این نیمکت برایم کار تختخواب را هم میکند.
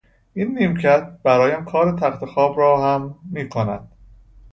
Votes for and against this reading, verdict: 2, 0, accepted